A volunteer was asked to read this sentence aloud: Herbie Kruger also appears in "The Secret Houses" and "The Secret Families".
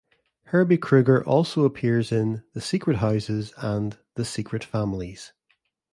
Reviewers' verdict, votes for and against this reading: accepted, 2, 0